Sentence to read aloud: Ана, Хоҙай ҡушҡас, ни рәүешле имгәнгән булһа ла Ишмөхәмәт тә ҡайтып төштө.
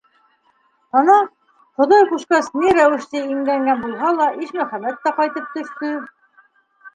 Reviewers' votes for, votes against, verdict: 2, 0, accepted